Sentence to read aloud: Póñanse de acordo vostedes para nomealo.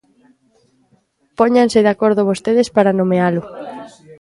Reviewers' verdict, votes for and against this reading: accepted, 2, 0